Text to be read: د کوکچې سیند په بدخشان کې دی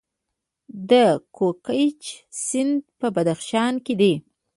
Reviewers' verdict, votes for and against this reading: rejected, 0, 2